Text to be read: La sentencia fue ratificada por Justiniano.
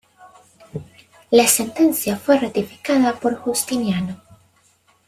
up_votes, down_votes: 2, 0